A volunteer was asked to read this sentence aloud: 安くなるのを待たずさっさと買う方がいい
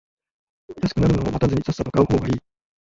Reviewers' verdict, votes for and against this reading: rejected, 1, 2